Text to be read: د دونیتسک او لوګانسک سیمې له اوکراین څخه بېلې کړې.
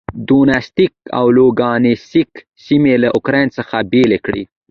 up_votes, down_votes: 1, 2